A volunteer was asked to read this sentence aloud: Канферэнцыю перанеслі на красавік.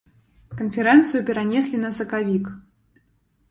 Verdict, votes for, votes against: accepted, 3, 2